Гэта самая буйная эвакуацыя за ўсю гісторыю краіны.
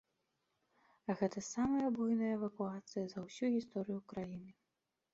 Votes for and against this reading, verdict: 0, 2, rejected